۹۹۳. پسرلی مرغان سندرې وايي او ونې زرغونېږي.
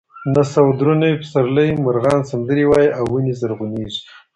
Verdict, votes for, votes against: rejected, 0, 2